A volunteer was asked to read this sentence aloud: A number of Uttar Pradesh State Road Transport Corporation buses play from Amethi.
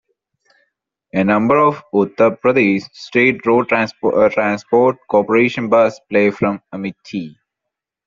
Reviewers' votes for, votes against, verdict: 1, 2, rejected